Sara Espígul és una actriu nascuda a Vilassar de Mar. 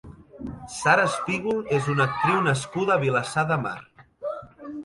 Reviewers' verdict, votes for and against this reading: rejected, 1, 2